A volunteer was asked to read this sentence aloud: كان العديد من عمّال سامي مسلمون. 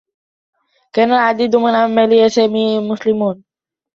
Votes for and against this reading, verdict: 0, 2, rejected